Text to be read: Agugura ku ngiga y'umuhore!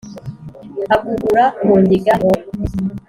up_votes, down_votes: 0, 2